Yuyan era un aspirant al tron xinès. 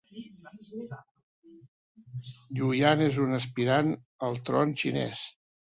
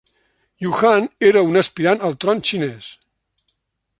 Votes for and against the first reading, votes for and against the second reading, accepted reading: 2, 0, 0, 2, first